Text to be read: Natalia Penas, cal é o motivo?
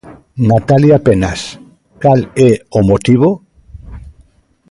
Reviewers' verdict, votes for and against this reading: accepted, 2, 0